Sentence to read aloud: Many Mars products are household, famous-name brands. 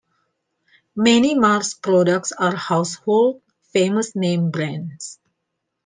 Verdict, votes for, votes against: accepted, 2, 0